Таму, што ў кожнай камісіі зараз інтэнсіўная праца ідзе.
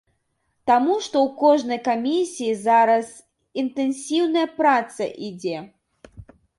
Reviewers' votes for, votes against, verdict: 2, 0, accepted